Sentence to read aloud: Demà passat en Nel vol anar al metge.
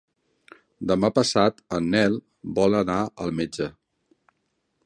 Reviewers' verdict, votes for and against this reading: accepted, 2, 0